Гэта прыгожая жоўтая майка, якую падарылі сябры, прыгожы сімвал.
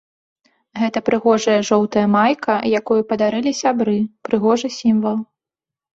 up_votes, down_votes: 2, 0